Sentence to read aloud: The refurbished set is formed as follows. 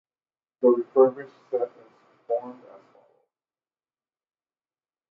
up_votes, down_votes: 0, 2